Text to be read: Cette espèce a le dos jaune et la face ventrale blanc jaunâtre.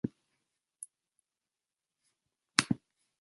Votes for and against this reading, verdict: 0, 2, rejected